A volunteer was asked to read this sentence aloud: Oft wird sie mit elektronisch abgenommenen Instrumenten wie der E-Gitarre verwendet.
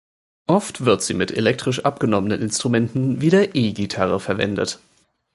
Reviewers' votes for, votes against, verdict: 1, 2, rejected